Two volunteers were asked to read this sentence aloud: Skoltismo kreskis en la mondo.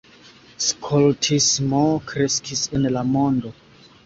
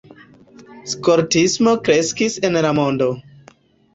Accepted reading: first